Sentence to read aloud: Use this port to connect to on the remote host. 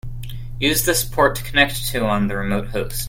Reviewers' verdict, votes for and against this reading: rejected, 1, 2